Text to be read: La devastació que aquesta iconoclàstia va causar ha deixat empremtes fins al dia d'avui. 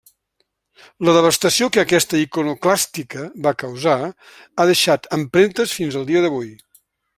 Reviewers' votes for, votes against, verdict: 1, 2, rejected